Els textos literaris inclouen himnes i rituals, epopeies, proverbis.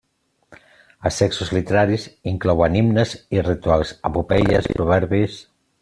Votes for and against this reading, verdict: 0, 2, rejected